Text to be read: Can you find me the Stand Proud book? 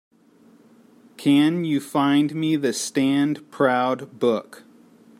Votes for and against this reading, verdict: 3, 0, accepted